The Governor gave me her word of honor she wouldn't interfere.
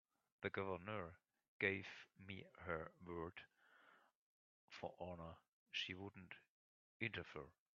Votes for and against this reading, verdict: 0, 3, rejected